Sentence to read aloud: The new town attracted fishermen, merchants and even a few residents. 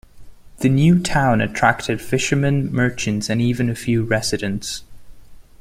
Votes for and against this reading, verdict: 2, 0, accepted